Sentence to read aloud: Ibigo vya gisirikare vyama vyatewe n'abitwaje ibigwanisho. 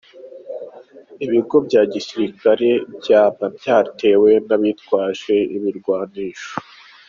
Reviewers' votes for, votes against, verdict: 2, 1, accepted